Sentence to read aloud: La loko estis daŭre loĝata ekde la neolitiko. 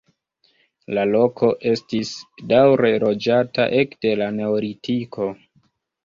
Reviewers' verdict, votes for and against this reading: accepted, 2, 0